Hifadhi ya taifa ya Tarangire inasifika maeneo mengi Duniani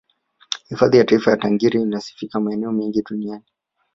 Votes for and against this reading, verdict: 1, 2, rejected